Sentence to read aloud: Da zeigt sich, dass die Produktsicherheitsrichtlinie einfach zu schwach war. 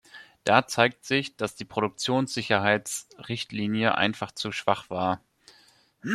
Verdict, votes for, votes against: rejected, 0, 2